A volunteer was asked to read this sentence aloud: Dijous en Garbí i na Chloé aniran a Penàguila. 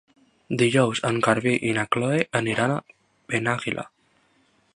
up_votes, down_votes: 1, 2